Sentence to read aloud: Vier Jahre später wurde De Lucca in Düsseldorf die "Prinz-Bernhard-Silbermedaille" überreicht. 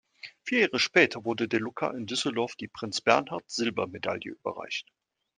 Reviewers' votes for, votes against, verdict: 2, 0, accepted